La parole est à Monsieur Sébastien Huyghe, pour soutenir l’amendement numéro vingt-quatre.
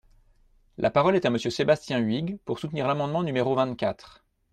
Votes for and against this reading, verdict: 2, 0, accepted